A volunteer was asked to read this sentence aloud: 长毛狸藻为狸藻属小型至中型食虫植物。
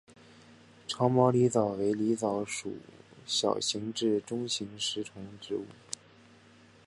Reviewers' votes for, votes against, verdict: 4, 0, accepted